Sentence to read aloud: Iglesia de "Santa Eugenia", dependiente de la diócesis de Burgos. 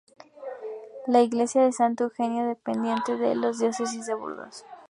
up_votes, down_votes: 0, 2